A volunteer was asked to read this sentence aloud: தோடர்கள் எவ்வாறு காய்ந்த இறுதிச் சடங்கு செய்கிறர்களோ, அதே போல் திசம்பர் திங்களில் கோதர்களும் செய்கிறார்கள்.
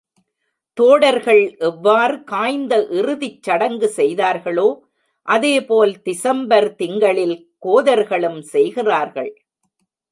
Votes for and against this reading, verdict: 0, 2, rejected